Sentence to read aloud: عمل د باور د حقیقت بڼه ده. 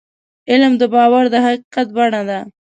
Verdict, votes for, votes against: rejected, 0, 2